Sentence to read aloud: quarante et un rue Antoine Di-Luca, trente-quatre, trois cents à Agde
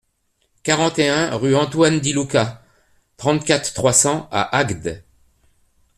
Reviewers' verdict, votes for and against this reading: accepted, 2, 0